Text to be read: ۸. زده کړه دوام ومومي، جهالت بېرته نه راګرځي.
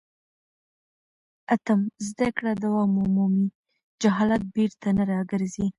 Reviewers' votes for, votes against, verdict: 0, 2, rejected